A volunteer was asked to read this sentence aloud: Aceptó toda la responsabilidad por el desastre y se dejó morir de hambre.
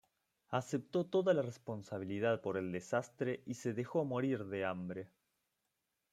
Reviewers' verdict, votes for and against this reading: accepted, 2, 0